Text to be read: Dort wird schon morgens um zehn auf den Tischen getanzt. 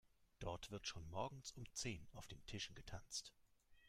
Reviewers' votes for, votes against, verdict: 3, 0, accepted